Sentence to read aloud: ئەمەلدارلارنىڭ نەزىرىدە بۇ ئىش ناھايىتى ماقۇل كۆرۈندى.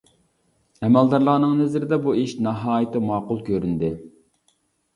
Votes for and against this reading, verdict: 3, 0, accepted